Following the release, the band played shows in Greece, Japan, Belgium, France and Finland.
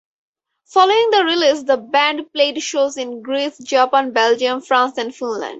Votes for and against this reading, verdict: 4, 2, accepted